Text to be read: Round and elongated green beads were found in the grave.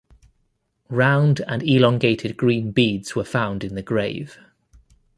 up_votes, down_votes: 2, 0